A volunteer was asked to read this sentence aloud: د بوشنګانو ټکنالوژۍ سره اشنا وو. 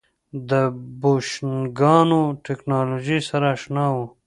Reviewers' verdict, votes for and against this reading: rejected, 1, 2